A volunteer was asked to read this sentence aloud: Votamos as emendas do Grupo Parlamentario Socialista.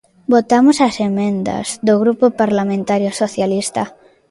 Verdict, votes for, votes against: accepted, 2, 0